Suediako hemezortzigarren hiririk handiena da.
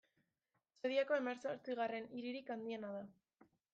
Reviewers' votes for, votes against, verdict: 1, 2, rejected